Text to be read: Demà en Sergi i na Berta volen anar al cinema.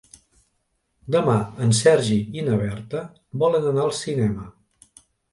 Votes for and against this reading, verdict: 3, 0, accepted